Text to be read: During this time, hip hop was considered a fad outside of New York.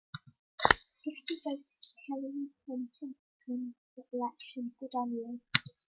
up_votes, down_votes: 0, 2